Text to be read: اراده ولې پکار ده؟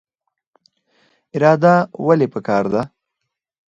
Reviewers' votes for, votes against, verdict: 2, 4, rejected